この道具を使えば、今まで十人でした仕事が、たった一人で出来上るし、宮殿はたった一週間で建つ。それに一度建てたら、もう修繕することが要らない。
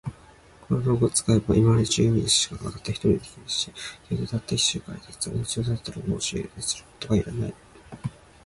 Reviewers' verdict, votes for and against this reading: rejected, 0, 2